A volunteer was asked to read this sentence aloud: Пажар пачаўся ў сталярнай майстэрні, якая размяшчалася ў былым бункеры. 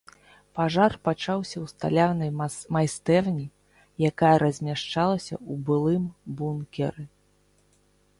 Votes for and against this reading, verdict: 0, 2, rejected